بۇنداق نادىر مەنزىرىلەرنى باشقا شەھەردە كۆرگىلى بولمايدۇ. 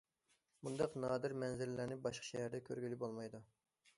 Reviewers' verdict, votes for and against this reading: accepted, 2, 1